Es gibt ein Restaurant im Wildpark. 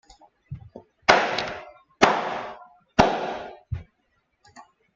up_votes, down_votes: 0, 2